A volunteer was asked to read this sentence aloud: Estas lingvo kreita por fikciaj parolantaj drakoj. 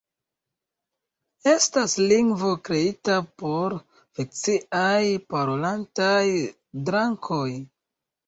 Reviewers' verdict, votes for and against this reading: accepted, 2, 1